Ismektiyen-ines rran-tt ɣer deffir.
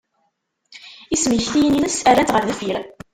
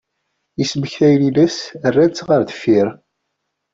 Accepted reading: second